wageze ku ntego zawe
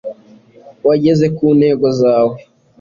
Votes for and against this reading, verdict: 2, 0, accepted